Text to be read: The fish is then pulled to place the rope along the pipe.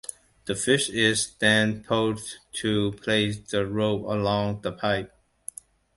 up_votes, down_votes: 2, 0